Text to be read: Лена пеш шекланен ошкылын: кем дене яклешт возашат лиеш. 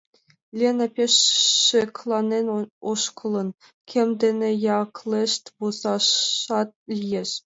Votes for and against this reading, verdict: 0, 2, rejected